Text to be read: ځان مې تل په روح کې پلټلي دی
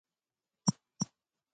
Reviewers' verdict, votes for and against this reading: rejected, 0, 2